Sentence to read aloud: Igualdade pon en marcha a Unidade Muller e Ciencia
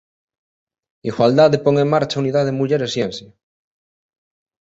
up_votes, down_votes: 2, 0